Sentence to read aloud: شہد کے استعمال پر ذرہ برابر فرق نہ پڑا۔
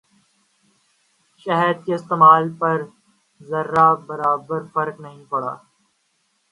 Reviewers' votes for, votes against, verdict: 0, 2, rejected